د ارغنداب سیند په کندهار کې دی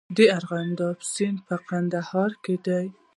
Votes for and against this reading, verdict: 2, 0, accepted